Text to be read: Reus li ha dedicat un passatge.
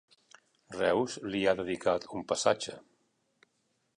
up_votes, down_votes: 2, 0